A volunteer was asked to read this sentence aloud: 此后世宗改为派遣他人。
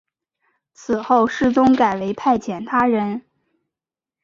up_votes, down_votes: 2, 1